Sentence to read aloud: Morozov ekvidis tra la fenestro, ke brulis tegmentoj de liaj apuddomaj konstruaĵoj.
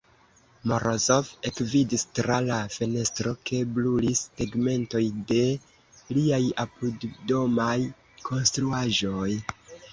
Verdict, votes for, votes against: rejected, 0, 2